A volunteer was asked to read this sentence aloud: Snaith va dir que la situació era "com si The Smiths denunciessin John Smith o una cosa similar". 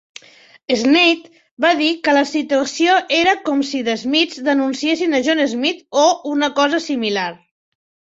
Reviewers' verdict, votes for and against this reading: accepted, 3, 1